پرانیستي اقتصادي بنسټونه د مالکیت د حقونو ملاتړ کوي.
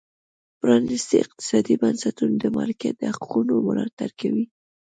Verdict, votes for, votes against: rejected, 1, 2